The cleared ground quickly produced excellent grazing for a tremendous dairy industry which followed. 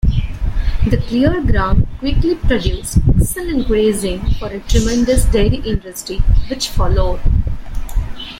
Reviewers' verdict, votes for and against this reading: accepted, 2, 1